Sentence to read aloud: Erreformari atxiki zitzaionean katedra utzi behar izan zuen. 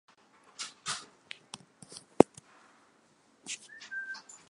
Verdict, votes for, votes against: rejected, 0, 3